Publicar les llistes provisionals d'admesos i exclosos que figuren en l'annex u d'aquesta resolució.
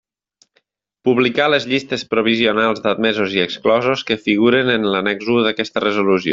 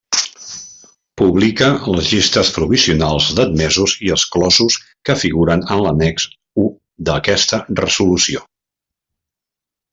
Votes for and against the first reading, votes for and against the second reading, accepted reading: 3, 0, 1, 2, first